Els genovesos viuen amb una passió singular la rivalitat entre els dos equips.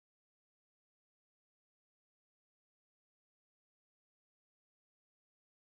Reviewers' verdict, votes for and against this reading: rejected, 0, 2